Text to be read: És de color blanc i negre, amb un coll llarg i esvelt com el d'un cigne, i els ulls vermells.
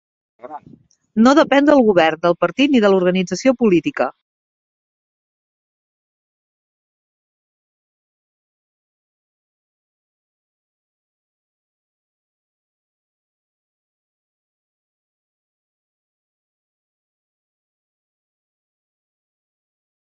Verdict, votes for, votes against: rejected, 0, 2